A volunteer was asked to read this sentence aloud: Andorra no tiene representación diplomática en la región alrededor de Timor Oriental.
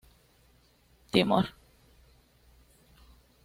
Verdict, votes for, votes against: rejected, 1, 2